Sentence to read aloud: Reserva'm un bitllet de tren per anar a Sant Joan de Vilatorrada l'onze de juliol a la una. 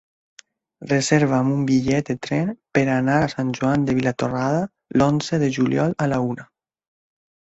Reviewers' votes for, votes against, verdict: 3, 0, accepted